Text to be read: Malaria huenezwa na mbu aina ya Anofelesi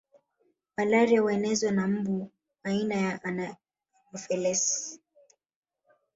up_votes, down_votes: 0, 2